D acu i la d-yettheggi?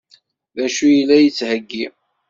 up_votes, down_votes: 1, 2